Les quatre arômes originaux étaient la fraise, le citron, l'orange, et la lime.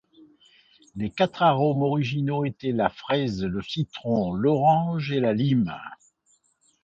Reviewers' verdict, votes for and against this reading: accepted, 2, 0